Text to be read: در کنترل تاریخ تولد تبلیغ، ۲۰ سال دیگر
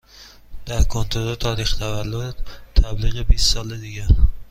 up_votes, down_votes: 0, 2